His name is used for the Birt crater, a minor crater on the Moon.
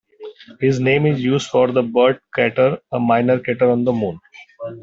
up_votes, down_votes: 1, 2